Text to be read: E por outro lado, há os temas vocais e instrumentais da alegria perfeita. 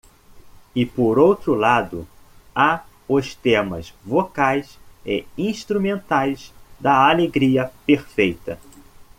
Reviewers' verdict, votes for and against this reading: accepted, 2, 0